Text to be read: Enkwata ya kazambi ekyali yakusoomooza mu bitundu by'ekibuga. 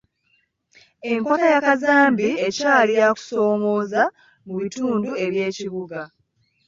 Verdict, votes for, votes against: rejected, 1, 3